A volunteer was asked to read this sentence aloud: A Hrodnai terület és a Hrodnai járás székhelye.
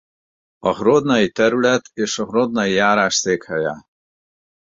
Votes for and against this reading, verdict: 4, 0, accepted